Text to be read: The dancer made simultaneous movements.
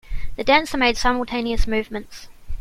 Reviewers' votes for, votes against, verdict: 2, 0, accepted